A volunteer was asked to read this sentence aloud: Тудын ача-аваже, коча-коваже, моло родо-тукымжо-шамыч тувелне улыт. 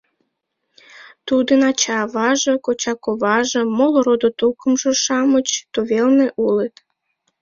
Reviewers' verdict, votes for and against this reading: accepted, 2, 0